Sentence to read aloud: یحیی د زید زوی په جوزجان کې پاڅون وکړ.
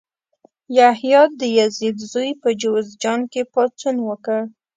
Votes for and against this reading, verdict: 1, 2, rejected